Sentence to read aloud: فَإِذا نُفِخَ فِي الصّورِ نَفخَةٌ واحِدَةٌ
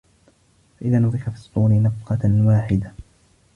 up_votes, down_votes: 0, 2